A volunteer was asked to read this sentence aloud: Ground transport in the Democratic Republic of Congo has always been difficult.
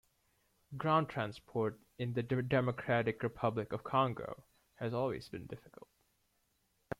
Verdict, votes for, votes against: rejected, 0, 2